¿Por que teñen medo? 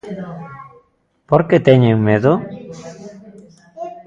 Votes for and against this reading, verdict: 2, 1, accepted